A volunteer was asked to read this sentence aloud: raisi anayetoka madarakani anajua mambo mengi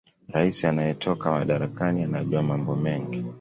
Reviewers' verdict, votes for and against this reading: accepted, 2, 0